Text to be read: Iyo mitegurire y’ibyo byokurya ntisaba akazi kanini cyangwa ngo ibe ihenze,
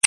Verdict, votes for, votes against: rejected, 1, 2